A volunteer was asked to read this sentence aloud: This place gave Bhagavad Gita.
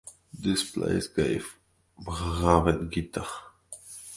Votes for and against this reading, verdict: 0, 2, rejected